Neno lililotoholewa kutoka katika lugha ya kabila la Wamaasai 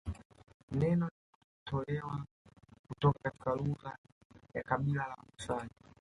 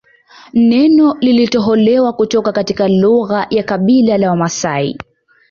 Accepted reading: second